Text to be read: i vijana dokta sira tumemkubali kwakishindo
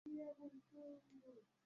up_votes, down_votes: 0, 2